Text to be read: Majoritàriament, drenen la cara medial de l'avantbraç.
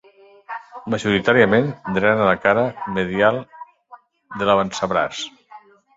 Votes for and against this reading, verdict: 2, 1, accepted